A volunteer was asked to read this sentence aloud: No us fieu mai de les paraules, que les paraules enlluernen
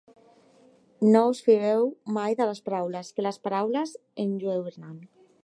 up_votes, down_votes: 2, 3